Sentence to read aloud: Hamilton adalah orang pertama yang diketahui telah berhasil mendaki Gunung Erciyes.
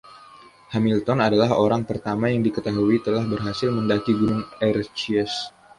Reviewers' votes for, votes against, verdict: 2, 0, accepted